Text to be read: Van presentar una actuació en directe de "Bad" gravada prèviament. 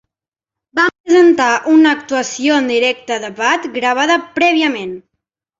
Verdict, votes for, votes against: rejected, 0, 2